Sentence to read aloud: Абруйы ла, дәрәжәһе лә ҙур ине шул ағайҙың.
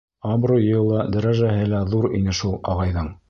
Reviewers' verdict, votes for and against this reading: accepted, 3, 0